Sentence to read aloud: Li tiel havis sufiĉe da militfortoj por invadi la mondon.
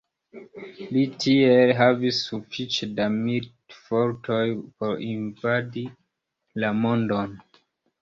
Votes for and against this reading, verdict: 0, 2, rejected